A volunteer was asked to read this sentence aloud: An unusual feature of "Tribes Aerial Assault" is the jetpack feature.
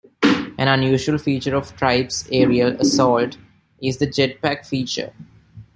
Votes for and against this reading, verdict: 1, 2, rejected